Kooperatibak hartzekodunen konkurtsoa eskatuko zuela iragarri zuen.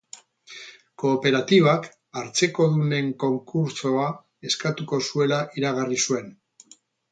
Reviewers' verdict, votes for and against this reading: accepted, 4, 0